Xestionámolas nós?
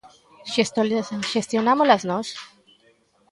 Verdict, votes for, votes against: rejected, 0, 2